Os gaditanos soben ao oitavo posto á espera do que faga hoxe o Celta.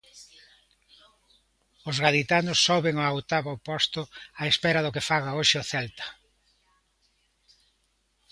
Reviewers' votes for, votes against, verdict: 2, 0, accepted